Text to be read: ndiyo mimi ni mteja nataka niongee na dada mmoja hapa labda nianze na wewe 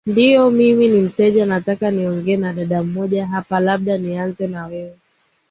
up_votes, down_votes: 11, 0